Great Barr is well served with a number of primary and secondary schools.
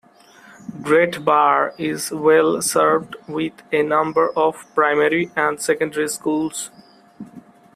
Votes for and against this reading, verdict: 2, 0, accepted